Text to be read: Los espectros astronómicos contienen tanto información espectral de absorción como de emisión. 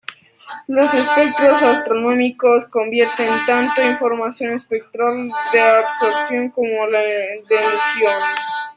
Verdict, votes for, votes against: rejected, 0, 2